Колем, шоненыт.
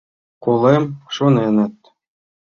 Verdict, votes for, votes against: accepted, 2, 0